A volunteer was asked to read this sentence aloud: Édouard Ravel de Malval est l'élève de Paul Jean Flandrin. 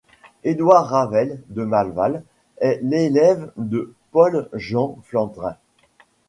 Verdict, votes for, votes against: accepted, 2, 0